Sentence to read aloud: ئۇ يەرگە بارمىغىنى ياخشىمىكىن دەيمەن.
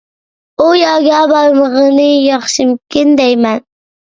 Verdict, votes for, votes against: accepted, 2, 1